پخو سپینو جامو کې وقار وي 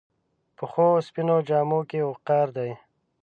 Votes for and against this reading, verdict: 1, 2, rejected